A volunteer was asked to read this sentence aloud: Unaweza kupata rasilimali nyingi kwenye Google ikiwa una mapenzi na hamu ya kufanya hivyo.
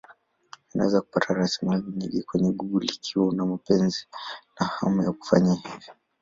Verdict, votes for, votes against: rejected, 2, 2